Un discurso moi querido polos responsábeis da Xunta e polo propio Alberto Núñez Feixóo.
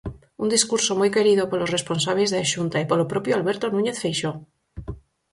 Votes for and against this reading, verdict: 4, 0, accepted